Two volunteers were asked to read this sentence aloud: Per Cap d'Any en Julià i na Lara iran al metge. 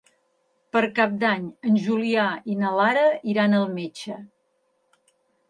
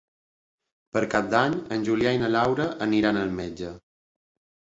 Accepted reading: first